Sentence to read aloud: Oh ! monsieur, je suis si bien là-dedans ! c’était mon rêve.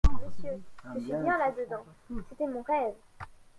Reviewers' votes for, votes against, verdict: 1, 2, rejected